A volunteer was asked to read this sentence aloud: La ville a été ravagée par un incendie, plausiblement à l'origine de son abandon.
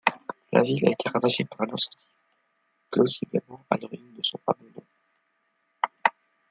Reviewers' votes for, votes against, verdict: 2, 1, accepted